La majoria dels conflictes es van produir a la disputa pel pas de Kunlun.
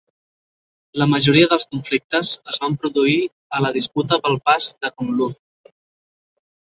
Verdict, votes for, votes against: accepted, 4, 0